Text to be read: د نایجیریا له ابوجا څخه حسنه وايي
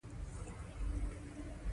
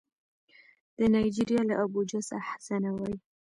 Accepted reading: second